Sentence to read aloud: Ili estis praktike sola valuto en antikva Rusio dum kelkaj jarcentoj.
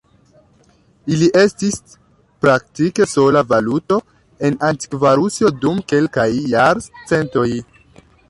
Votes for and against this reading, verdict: 1, 3, rejected